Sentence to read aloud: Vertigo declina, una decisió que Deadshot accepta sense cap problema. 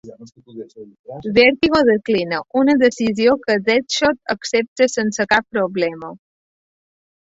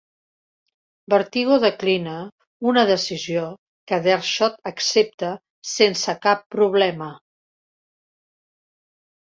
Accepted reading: second